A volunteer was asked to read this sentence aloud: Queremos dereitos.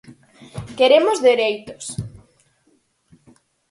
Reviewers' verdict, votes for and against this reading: accepted, 4, 0